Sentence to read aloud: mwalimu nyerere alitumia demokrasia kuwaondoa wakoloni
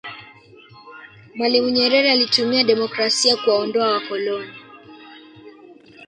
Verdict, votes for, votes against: rejected, 0, 2